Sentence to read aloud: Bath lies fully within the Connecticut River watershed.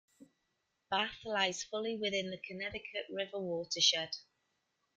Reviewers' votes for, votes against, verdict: 2, 0, accepted